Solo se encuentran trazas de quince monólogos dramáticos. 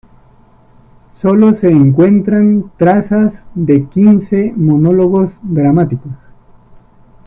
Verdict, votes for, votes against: accepted, 2, 0